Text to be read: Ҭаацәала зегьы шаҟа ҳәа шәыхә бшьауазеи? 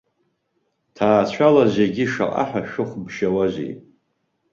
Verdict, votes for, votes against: rejected, 0, 2